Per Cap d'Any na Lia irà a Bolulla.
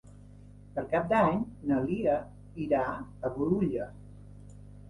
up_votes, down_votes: 3, 0